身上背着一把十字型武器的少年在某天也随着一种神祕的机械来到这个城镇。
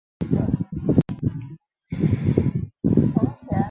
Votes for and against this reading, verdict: 2, 1, accepted